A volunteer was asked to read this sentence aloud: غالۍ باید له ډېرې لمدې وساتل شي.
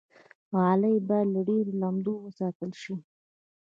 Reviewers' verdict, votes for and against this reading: rejected, 1, 2